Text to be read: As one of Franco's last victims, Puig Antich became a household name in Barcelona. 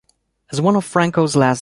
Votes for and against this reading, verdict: 1, 2, rejected